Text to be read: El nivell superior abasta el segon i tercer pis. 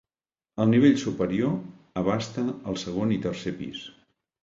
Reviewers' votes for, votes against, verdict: 2, 0, accepted